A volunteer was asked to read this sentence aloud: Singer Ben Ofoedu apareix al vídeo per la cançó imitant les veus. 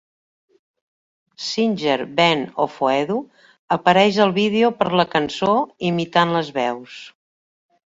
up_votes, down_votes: 3, 0